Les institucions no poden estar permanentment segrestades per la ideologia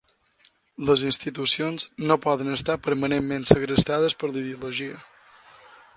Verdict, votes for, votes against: accepted, 2, 0